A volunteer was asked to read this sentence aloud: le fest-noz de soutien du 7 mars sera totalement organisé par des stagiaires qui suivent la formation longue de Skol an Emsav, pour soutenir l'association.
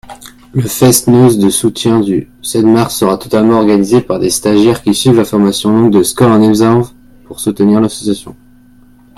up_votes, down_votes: 0, 2